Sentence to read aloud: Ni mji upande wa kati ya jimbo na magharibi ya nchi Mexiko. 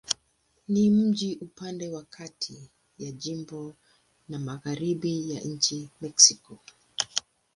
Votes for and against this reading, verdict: 8, 4, accepted